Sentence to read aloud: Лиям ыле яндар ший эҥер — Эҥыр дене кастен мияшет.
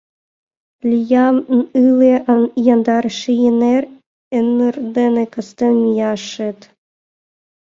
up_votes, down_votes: 0, 2